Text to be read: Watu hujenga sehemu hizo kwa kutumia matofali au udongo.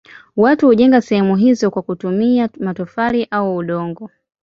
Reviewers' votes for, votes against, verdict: 2, 0, accepted